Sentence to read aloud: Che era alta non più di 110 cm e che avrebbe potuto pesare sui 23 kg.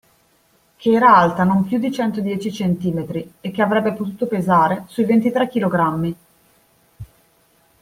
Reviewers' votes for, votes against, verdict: 0, 2, rejected